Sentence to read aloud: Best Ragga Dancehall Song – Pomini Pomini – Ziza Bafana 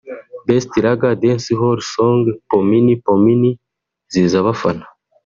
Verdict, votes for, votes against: rejected, 1, 2